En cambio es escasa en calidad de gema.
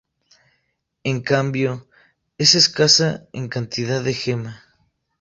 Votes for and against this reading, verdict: 0, 2, rejected